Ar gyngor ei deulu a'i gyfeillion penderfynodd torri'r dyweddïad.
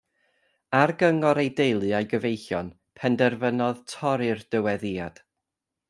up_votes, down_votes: 2, 0